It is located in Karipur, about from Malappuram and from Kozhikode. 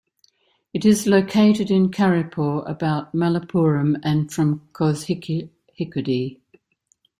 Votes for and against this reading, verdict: 1, 2, rejected